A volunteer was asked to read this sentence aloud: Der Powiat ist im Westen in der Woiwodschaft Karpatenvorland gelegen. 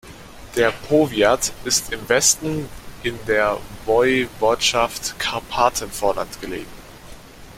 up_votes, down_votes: 0, 2